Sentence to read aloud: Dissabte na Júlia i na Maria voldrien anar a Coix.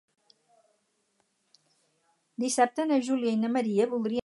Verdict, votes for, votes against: rejected, 0, 4